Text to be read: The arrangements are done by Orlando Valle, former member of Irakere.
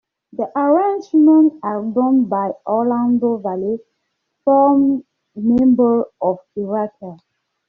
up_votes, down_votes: 0, 2